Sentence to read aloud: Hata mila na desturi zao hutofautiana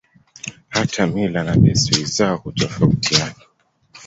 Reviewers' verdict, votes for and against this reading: accepted, 2, 0